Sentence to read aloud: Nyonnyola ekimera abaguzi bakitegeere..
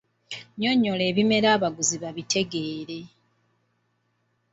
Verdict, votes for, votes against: rejected, 1, 2